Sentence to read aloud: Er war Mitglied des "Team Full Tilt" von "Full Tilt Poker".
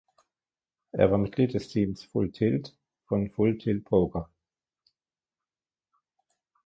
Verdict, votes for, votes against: rejected, 0, 2